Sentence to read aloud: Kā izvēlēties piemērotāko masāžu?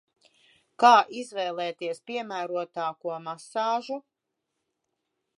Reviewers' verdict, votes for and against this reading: accepted, 2, 0